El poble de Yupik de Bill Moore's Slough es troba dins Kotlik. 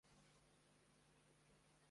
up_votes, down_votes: 0, 2